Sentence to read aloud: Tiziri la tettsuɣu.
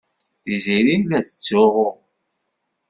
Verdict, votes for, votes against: accepted, 2, 0